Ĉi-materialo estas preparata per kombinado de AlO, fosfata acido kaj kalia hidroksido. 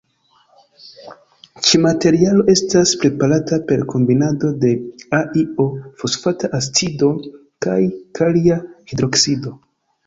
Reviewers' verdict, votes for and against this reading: rejected, 1, 2